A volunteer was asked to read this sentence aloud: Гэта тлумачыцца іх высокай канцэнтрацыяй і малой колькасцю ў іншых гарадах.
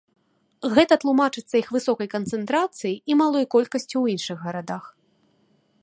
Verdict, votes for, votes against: accepted, 2, 0